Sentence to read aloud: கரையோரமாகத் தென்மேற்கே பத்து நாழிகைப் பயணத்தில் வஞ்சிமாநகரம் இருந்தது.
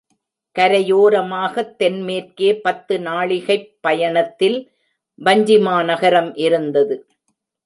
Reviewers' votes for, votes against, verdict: 2, 0, accepted